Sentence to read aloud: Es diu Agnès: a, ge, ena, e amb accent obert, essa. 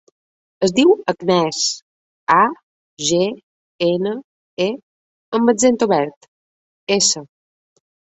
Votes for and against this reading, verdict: 2, 0, accepted